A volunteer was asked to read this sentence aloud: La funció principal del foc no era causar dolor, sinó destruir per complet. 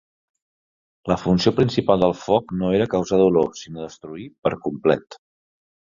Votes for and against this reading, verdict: 2, 0, accepted